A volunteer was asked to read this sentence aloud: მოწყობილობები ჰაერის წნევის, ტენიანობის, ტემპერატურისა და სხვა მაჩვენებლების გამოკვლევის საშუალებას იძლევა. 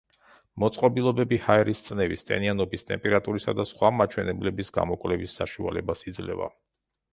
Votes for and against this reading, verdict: 2, 1, accepted